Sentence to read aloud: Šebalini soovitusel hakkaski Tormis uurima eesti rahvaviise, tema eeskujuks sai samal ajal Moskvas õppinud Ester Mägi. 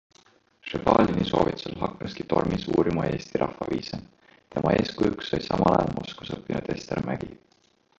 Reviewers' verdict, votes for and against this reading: rejected, 1, 2